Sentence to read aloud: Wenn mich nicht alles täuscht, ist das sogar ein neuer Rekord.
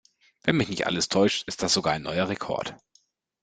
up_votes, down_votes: 2, 0